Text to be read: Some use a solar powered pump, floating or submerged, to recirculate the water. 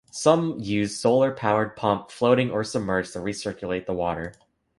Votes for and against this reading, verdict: 1, 2, rejected